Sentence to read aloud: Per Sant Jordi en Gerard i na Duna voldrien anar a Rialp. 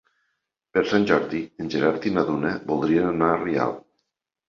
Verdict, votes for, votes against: accepted, 2, 0